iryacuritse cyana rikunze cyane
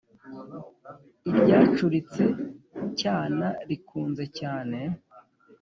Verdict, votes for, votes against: accepted, 2, 0